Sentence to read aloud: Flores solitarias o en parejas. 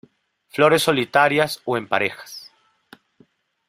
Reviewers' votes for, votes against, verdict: 2, 0, accepted